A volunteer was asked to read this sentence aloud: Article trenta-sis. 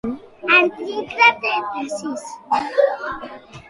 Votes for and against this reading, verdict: 1, 2, rejected